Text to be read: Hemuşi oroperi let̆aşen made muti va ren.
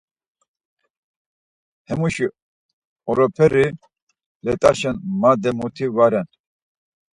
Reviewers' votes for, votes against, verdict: 4, 0, accepted